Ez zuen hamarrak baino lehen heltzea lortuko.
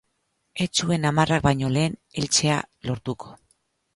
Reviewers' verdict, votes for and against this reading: rejected, 0, 2